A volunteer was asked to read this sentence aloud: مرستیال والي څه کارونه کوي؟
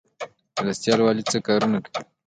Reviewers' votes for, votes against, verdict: 0, 2, rejected